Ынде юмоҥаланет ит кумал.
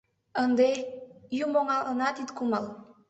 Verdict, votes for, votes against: rejected, 0, 2